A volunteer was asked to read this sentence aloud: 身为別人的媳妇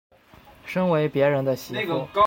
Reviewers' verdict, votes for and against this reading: rejected, 1, 2